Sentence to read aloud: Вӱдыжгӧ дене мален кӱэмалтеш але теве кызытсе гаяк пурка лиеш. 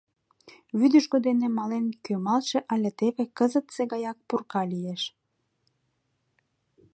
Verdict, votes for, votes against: rejected, 1, 3